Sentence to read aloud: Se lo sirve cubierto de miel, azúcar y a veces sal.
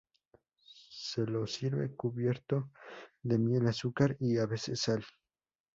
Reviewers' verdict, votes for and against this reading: accepted, 2, 0